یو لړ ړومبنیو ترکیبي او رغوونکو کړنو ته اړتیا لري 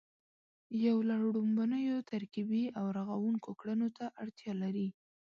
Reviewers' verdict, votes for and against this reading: rejected, 2, 3